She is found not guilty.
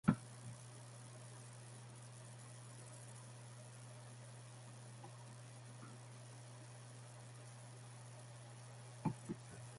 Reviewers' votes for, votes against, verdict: 0, 2, rejected